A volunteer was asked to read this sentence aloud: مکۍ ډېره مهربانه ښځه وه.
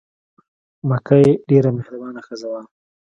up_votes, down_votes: 3, 1